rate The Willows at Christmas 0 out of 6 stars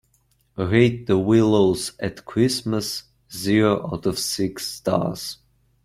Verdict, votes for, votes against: rejected, 0, 2